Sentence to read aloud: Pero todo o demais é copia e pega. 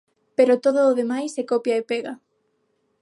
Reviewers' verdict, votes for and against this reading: accepted, 9, 0